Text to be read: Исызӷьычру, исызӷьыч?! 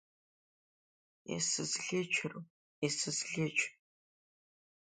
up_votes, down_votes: 3, 0